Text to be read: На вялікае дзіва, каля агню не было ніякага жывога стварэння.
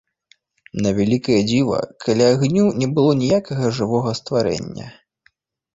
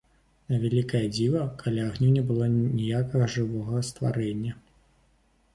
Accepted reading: first